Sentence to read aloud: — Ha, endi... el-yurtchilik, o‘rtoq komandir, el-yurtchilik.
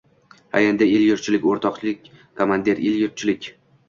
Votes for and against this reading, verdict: 1, 2, rejected